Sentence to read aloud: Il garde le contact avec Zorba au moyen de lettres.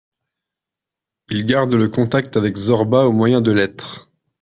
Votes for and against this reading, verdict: 2, 0, accepted